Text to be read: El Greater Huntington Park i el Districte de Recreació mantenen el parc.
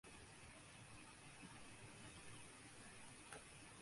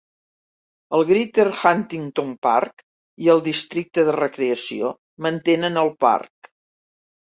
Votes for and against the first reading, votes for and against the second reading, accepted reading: 0, 2, 2, 0, second